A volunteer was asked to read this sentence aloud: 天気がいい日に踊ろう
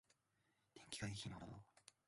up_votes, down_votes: 0, 2